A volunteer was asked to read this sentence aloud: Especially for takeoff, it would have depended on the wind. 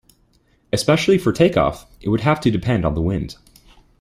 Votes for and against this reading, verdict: 1, 2, rejected